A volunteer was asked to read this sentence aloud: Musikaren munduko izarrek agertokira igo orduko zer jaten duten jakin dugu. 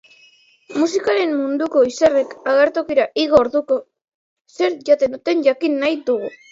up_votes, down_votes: 0, 3